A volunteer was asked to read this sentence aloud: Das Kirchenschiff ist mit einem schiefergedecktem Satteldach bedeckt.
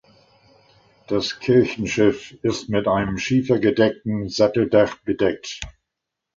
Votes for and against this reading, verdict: 2, 0, accepted